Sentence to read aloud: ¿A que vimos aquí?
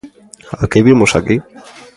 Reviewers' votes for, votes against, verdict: 2, 0, accepted